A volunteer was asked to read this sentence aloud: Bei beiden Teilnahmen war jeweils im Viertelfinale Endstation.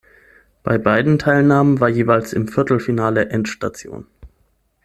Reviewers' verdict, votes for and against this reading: accepted, 6, 0